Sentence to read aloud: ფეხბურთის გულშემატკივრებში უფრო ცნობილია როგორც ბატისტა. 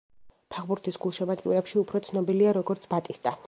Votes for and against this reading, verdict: 2, 0, accepted